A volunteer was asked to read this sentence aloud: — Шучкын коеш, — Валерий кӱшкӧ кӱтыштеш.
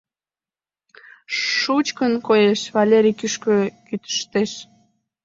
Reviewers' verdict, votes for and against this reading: rejected, 1, 2